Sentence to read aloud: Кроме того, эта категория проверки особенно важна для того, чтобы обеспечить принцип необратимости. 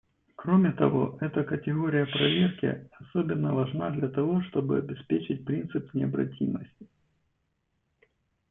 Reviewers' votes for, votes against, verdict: 2, 0, accepted